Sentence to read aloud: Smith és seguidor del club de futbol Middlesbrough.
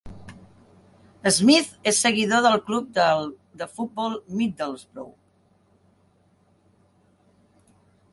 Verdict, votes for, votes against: rejected, 0, 2